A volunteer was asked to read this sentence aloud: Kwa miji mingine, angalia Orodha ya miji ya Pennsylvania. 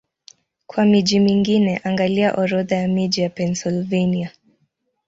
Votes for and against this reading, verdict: 13, 3, accepted